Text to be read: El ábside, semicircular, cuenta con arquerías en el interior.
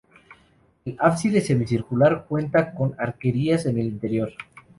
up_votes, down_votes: 0, 2